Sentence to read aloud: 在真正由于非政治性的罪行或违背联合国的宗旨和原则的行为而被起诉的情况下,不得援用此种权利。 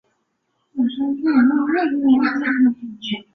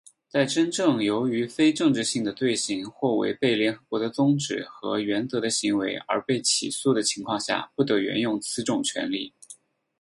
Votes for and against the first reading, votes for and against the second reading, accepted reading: 1, 4, 4, 0, second